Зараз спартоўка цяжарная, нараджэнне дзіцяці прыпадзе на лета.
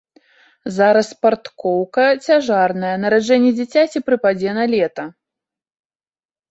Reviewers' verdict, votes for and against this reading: rejected, 0, 2